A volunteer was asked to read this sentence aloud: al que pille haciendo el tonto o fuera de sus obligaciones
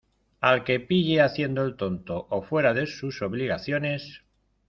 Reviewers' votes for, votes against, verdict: 2, 0, accepted